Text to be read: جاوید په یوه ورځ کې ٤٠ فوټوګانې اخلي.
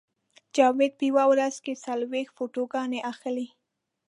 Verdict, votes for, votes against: rejected, 0, 2